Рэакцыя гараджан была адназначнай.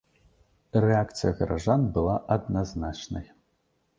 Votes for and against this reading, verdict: 2, 1, accepted